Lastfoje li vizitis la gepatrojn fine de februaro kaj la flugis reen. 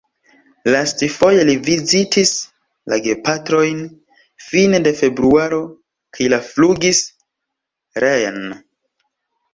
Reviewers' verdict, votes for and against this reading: rejected, 1, 2